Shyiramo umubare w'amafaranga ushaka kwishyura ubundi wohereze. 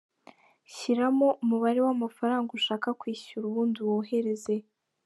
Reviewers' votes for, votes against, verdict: 2, 0, accepted